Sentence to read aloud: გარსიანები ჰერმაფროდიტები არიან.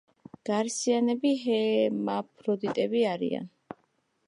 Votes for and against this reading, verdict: 2, 1, accepted